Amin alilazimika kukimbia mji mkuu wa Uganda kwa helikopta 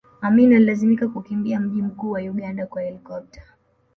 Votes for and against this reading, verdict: 2, 1, accepted